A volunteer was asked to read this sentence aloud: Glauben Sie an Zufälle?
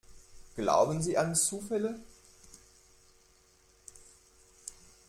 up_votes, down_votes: 2, 0